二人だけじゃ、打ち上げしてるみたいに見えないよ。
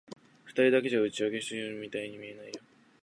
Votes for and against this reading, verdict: 0, 2, rejected